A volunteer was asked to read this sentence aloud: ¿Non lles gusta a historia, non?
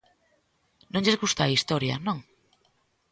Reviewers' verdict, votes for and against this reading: accepted, 2, 0